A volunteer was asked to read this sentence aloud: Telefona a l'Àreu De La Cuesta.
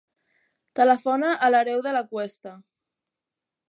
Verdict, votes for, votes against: rejected, 1, 2